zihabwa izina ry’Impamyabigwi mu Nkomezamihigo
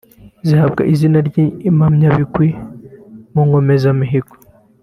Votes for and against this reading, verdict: 2, 0, accepted